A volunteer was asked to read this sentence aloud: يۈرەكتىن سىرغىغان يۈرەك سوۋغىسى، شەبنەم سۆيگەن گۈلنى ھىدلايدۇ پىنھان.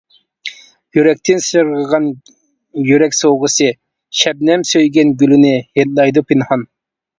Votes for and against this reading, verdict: 0, 2, rejected